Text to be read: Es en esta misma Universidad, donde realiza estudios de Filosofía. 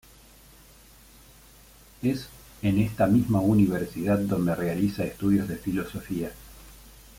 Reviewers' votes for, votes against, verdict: 2, 0, accepted